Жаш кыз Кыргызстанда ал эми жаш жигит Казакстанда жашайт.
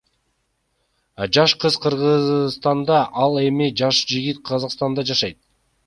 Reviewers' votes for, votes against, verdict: 2, 0, accepted